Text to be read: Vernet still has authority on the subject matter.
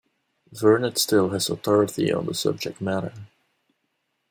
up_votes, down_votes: 2, 0